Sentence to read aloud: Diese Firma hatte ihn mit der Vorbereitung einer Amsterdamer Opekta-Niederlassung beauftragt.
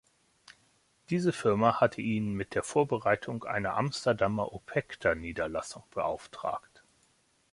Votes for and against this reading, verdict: 2, 0, accepted